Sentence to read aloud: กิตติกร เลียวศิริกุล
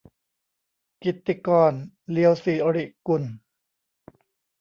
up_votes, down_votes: 2, 1